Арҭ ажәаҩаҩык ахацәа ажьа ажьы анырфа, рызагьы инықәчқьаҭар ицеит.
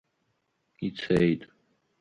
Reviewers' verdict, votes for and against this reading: rejected, 1, 4